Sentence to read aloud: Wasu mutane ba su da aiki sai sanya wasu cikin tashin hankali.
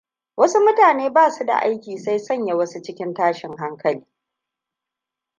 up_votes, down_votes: 2, 0